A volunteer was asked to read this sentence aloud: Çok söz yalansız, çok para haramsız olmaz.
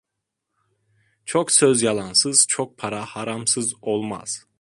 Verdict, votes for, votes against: accepted, 2, 0